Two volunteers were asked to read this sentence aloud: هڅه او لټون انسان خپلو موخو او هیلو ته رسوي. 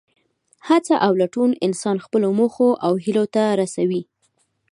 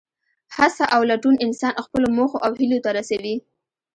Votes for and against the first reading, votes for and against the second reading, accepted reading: 3, 0, 1, 2, first